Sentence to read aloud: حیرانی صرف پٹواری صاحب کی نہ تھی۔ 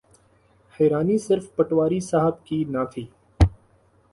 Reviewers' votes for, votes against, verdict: 2, 0, accepted